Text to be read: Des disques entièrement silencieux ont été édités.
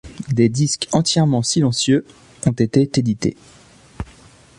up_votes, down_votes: 1, 2